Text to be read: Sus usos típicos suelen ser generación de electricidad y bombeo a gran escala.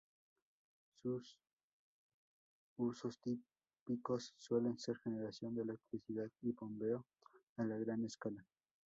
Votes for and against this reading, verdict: 2, 2, rejected